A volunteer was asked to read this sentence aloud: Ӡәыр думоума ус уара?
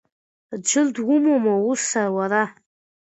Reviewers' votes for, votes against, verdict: 1, 2, rejected